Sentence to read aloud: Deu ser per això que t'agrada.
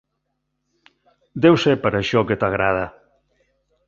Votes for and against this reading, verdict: 3, 0, accepted